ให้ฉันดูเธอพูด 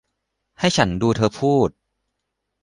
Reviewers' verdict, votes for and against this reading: accepted, 2, 0